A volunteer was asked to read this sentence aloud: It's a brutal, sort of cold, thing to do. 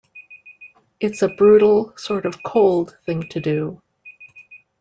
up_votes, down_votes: 0, 2